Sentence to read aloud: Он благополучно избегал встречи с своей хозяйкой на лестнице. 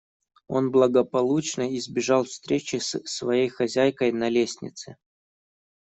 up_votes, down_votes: 1, 2